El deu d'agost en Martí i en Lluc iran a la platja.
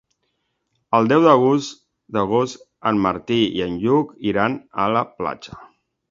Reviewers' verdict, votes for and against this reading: rejected, 0, 2